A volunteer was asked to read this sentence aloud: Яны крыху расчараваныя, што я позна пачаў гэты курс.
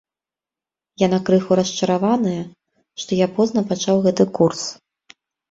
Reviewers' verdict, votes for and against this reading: accepted, 2, 0